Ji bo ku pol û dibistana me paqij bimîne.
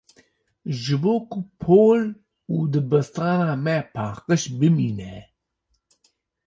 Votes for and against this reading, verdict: 2, 0, accepted